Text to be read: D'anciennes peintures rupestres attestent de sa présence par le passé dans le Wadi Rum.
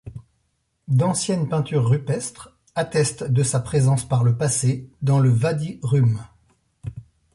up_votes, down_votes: 1, 2